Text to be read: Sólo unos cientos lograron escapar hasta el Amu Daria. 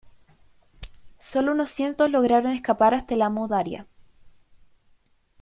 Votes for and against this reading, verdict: 2, 0, accepted